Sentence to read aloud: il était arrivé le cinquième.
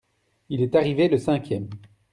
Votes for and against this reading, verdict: 1, 2, rejected